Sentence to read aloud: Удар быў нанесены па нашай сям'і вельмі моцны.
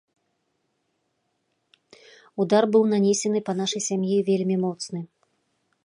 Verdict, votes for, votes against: accepted, 3, 0